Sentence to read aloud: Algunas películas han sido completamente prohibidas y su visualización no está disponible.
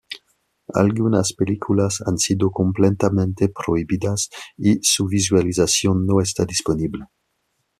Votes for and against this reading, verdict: 1, 2, rejected